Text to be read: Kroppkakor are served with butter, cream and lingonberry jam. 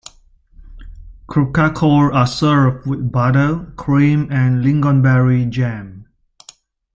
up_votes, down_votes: 2, 1